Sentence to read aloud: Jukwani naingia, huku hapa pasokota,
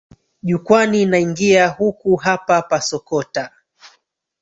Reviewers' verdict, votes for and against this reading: rejected, 1, 3